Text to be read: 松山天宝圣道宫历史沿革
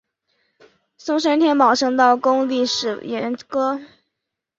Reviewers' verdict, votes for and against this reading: accepted, 2, 0